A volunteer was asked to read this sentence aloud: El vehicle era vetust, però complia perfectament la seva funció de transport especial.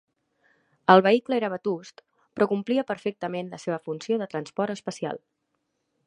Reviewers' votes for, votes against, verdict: 5, 0, accepted